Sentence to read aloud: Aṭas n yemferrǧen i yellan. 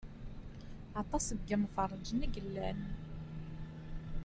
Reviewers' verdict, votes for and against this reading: rejected, 0, 2